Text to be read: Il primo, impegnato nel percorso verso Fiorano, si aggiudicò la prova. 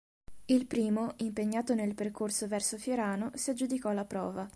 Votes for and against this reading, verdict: 2, 0, accepted